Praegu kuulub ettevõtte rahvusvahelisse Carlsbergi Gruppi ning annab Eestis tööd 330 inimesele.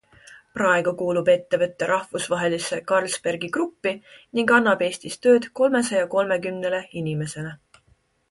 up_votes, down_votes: 0, 2